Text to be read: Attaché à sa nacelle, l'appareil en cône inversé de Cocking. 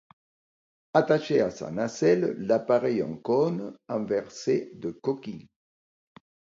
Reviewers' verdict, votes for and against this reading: rejected, 1, 2